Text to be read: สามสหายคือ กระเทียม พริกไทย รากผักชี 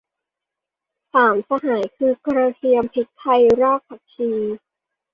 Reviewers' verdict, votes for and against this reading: accepted, 2, 0